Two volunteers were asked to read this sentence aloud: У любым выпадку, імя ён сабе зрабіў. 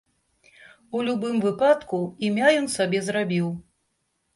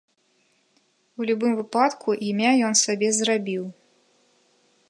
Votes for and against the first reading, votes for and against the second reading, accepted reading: 2, 0, 1, 2, first